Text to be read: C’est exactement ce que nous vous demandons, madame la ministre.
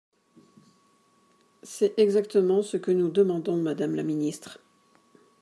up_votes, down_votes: 0, 2